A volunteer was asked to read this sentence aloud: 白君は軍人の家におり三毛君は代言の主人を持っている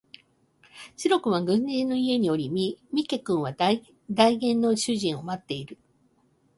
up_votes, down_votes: 0, 2